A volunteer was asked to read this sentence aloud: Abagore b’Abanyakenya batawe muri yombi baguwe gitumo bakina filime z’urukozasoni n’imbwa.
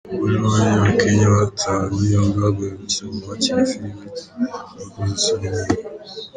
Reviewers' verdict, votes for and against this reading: rejected, 0, 2